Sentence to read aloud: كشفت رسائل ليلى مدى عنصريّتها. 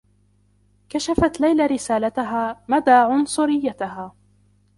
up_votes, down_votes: 1, 2